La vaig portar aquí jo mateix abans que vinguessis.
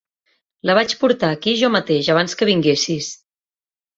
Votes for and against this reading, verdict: 3, 1, accepted